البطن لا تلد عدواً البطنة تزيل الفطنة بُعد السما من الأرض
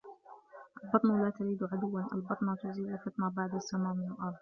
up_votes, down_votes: 1, 2